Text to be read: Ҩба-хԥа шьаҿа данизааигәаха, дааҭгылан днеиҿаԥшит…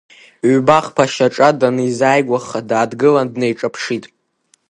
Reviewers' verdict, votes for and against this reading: accepted, 2, 0